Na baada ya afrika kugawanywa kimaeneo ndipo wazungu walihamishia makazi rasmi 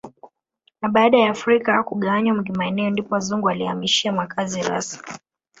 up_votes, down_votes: 1, 2